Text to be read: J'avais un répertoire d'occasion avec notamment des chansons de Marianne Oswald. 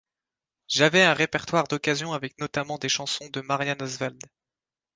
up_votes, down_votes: 2, 0